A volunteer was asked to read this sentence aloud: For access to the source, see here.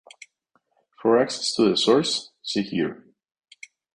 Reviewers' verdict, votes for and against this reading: accepted, 4, 0